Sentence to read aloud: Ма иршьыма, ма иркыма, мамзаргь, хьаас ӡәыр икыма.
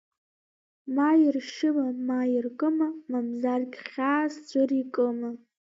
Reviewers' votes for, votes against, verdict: 0, 2, rejected